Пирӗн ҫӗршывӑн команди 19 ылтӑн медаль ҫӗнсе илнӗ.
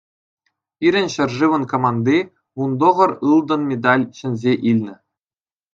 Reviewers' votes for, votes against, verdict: 0, 2, rejected